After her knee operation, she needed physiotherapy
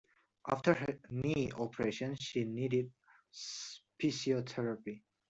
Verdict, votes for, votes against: rejected, 0, 2